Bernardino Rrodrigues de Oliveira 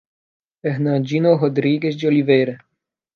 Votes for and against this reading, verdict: 0, 2, rejected